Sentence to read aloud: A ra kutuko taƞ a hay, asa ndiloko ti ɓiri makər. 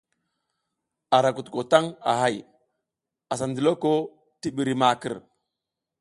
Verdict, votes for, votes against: accepted, 2, 0